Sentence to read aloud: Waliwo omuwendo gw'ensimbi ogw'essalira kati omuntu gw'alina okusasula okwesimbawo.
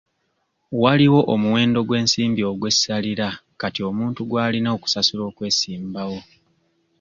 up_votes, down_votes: 2, 0